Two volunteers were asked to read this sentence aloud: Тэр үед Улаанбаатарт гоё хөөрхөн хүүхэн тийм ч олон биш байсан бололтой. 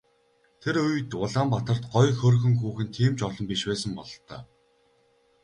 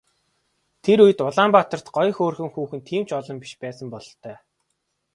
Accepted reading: first